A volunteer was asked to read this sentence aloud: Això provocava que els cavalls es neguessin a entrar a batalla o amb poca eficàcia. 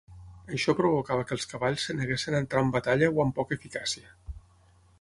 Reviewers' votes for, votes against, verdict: 3, 6, rejected